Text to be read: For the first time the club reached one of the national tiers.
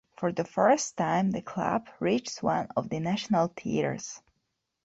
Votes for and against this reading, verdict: 2, 1, accepted